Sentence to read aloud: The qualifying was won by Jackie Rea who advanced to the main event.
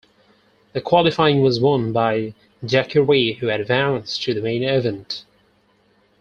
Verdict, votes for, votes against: rejected, 0, 4